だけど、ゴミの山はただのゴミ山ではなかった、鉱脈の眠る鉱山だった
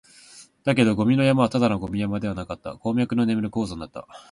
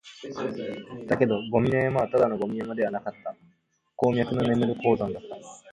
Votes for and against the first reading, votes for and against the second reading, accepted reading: 11, 0, 1, 3, first